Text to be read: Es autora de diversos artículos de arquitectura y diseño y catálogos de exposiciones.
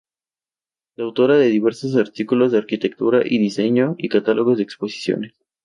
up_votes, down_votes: 2, 0